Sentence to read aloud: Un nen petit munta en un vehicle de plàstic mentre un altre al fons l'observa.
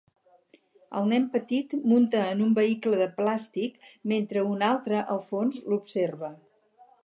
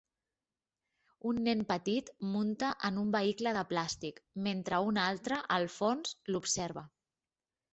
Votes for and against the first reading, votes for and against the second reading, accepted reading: 2, 2, 3, 0, second